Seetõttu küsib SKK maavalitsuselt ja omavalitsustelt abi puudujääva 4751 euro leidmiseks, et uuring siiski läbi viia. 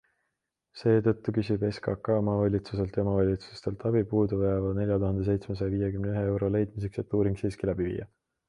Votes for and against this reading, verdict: 0, 2, rejected